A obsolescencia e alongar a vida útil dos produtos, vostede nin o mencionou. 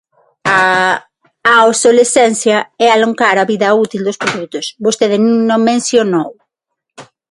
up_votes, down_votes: 3, 6